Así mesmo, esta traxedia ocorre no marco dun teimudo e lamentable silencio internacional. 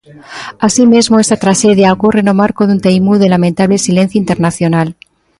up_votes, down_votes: 2, 0